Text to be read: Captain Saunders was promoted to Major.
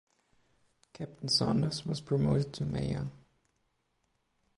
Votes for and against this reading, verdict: 2, 1, accepted